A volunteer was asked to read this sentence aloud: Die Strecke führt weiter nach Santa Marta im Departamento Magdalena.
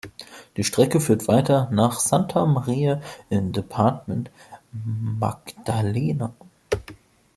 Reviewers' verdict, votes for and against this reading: rejected, 0, 3